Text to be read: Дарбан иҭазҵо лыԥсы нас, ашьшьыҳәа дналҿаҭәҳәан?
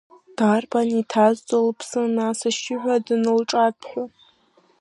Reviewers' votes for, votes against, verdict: 1, 2, rejected